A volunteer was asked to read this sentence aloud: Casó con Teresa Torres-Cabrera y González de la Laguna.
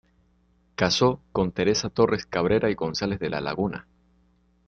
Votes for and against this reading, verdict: 2, 0, accepted